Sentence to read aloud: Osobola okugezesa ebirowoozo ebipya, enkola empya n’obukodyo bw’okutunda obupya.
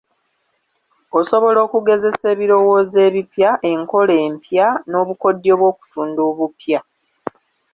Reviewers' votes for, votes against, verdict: 1, 2, rejected